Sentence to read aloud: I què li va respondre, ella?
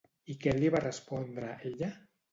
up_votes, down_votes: 2, 0